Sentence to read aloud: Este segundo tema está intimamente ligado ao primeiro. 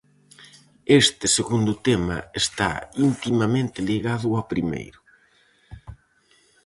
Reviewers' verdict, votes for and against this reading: accepted, 4, 0